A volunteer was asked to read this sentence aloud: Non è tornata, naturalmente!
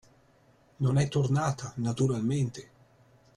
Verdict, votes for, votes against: rejected, 1, 2